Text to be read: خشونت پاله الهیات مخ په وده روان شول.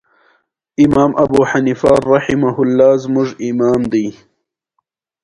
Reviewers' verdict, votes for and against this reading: rejected, 1, 2